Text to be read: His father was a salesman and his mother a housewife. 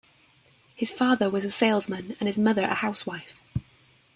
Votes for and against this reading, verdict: 1, 2, rejected